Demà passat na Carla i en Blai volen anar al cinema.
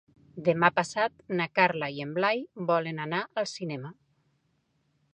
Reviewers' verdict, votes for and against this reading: accepted, 3, 1